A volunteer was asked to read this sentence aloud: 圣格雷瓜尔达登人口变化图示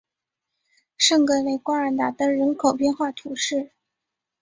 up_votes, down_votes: 2, 0